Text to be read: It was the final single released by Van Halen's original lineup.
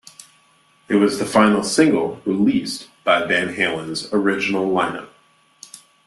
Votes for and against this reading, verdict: 2, 0, accepted